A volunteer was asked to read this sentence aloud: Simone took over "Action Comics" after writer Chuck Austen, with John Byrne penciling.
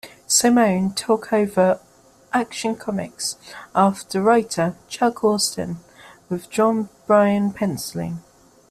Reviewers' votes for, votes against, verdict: 2, 0, accepted